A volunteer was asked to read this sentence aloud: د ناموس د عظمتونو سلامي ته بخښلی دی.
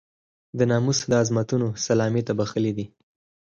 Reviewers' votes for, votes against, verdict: 2, 4, rejected